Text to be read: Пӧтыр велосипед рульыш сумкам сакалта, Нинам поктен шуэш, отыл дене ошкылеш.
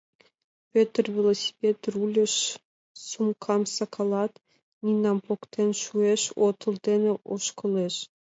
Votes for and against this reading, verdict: 2, 1, accepted